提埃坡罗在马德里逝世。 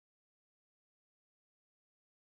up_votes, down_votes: 0, 2